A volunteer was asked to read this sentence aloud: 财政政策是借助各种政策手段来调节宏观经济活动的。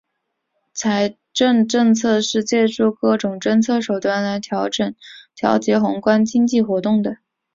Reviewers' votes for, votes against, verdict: 1, 2, rejected